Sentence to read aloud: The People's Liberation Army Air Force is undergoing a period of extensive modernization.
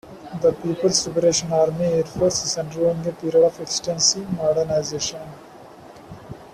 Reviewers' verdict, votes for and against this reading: accepted, 2, 0